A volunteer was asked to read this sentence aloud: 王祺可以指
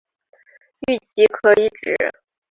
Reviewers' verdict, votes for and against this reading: rejected, 1, 2